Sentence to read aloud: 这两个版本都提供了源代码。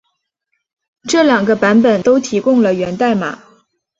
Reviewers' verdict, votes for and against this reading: accepted, 2, 0